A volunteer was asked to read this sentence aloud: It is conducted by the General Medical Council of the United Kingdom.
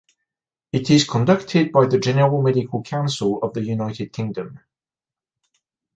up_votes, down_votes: 2, 0